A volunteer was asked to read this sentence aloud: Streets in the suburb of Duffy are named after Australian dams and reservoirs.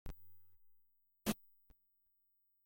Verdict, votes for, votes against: rejected, 0, 2